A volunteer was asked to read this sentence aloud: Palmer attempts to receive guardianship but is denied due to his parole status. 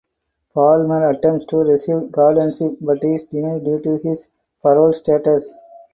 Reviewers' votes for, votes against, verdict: 0, 4, rejected